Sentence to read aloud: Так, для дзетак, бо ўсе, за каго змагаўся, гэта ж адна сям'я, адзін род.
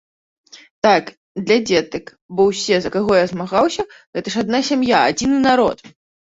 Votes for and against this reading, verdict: 0, 2, rejected